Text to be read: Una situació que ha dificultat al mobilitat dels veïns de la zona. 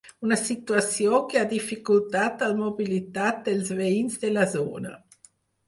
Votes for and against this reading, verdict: 4, 0, accepted